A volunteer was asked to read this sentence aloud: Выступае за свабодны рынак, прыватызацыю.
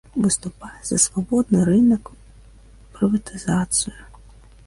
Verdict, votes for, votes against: rejected, 0, 2